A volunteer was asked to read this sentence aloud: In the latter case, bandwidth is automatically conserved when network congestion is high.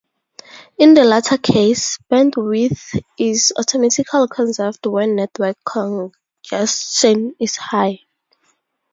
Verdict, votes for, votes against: rejected, 0, 4